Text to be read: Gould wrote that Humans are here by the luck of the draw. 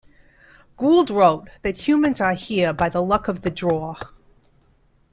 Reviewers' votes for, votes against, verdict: 2, 0, accepted